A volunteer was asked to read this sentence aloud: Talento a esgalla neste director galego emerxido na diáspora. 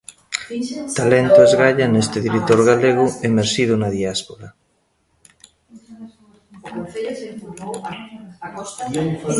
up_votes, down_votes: 1, 2